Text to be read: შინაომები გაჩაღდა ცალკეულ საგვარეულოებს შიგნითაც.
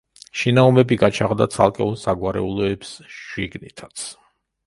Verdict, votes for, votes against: accepted, 2, 0